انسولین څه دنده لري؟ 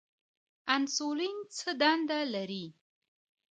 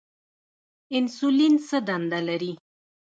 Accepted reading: first